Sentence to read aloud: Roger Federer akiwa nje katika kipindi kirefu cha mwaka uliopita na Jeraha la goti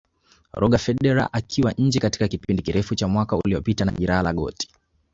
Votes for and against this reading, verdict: 2, 3, rejected